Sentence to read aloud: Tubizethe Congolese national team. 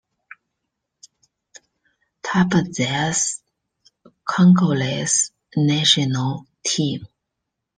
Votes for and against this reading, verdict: 2, 1, accepted